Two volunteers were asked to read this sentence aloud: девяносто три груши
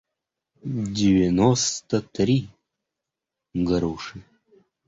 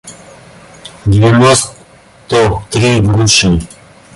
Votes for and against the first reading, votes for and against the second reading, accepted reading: 2, 0, 1, 2, first